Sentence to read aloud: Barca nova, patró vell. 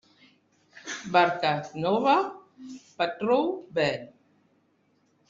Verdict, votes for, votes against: rejected, 0, 2